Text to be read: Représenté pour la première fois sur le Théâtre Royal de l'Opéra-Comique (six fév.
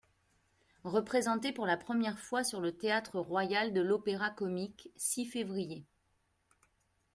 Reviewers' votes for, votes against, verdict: 2, 1, accepted